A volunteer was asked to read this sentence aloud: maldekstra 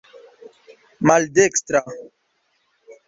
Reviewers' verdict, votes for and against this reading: accepted, 2, 0